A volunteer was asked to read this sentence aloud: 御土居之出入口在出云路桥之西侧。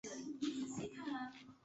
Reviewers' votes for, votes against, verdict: 0, 2, rejected